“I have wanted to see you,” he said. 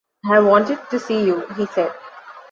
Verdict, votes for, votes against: rejected, 0, 2